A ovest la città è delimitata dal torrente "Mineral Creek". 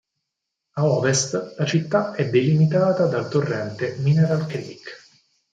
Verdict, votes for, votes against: accepted, 4, 0